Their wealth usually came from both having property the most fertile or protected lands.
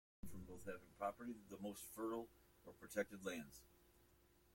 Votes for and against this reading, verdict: 0, 2, rejected